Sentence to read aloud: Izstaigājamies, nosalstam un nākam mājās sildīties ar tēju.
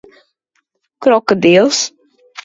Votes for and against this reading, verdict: 0, 2, rejected